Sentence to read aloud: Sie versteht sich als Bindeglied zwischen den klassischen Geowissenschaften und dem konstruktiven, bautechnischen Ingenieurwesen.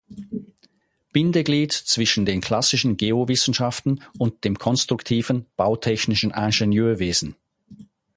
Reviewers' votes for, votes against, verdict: 0, 4, rejected